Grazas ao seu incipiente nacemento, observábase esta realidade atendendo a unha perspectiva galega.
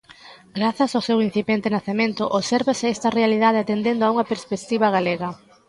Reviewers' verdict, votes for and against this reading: rejected, 0, 2